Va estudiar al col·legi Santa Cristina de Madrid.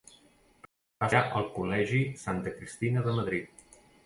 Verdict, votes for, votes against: rejected, 0, 2